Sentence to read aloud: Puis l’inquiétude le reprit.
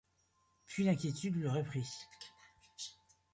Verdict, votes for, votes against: rejected, 0, 2